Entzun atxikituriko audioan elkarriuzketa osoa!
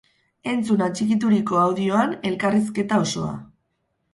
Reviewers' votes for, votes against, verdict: 2, 0, accepted